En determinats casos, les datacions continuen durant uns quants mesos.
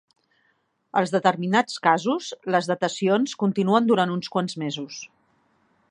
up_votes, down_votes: 2, 3